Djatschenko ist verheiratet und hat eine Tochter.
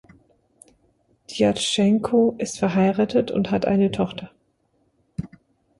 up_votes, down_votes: 2, 0